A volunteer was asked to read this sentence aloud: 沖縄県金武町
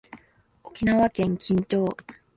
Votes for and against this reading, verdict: 0, 2, rejected